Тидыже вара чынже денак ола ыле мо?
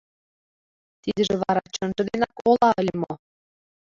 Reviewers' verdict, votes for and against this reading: rejected, 0, 2